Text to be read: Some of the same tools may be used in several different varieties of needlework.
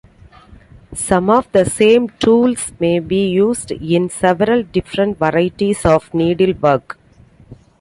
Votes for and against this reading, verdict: 2, 0, accepted